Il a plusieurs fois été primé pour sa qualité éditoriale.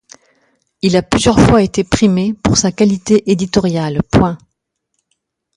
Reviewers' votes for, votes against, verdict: 0, 2, rejected